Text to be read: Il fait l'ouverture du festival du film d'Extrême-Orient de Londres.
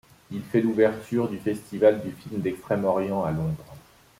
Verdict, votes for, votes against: rejected, 1, 2